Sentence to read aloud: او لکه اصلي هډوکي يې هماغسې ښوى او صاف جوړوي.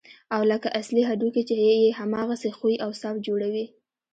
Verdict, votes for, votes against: rejected, 0, 2